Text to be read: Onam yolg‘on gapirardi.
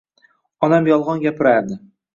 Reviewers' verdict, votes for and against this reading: accepted, 2, 0